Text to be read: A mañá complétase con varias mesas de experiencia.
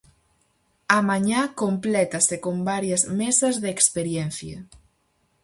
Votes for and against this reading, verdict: 4, 0, accepted